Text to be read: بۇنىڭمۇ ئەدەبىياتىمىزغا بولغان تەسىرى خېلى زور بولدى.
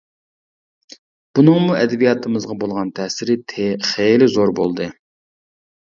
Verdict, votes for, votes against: rejected, 0, 2